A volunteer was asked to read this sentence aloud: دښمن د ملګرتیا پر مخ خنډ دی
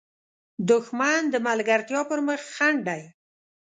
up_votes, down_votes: 2, 0